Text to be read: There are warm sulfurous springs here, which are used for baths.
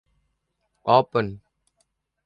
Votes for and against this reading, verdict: 0, 2, rejected